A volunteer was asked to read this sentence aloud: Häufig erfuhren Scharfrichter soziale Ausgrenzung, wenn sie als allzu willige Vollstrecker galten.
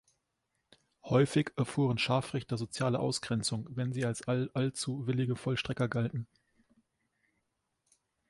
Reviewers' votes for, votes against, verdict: 1, 2, rejected